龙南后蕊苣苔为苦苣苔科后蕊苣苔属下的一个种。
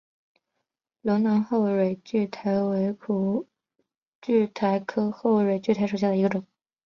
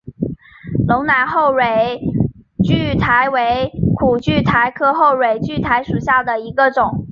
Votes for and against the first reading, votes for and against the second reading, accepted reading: 2, 1, 1, 2, first